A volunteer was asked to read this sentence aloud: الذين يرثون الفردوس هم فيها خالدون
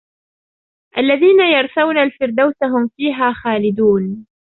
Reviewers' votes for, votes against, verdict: 1, 2, rejected